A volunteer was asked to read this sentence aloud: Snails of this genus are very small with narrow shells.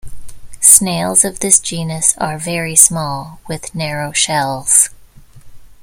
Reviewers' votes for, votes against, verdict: 2, 0, accepted